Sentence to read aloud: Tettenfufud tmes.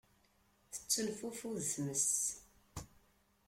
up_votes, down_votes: 2, 0